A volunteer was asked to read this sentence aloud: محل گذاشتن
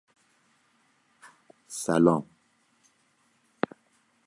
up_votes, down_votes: 0, 2